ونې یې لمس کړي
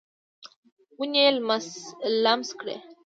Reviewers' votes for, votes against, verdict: 1, 2, rejected